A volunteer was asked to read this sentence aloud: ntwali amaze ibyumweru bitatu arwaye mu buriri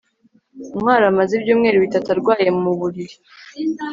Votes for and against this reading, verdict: 3, 0, accepted